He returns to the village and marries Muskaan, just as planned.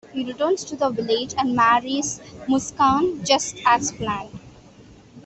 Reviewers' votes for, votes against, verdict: 2, 1, accepted